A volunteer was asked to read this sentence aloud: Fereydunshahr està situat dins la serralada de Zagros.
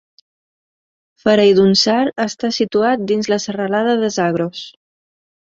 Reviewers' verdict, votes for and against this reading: accepted, 3, 0